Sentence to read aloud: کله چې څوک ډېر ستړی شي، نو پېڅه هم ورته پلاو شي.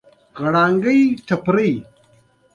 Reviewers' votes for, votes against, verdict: 0, 2, rejected